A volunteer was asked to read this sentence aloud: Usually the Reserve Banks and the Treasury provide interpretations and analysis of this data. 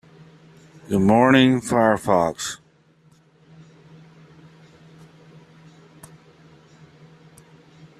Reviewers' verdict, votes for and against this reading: rejected, 0, 3